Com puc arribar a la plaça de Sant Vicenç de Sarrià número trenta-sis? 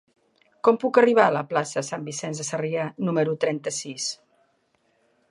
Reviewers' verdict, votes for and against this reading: rejected, 1, 2